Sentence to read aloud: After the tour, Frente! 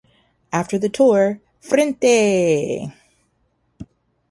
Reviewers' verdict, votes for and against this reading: rejected, 0, 2